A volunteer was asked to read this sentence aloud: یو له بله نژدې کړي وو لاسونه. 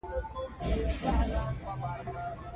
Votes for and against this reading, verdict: 1, 2, rejected